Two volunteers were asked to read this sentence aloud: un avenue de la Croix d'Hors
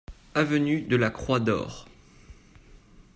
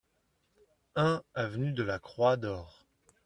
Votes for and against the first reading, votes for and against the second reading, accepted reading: 0, 2, 2, 0, second